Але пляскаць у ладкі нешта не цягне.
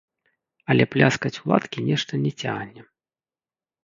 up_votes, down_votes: 1, 2